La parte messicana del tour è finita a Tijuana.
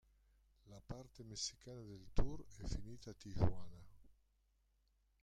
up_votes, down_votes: 1, 2